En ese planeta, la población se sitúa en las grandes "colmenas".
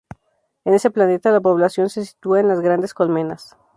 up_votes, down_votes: 2, 0